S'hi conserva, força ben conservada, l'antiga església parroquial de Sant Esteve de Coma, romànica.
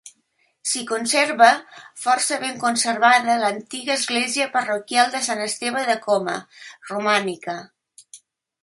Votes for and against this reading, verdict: 2, 0, accepted